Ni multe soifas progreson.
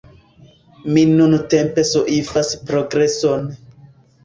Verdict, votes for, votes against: accepted, 2, 1